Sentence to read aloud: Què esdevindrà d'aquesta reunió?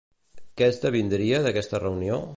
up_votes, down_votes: 1, 2